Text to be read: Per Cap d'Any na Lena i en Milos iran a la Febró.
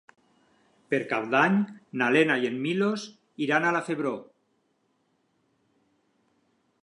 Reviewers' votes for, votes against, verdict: 6, 0, accepted